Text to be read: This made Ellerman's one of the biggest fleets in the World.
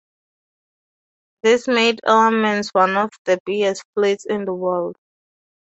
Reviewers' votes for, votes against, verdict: 2, 0, accepted